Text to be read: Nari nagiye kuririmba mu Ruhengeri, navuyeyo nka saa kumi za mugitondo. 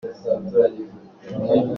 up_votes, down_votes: 0, 2